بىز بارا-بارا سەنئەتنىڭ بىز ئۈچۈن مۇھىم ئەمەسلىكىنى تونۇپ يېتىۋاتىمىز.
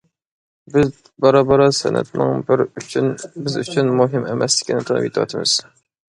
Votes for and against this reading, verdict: 0, 2, rejected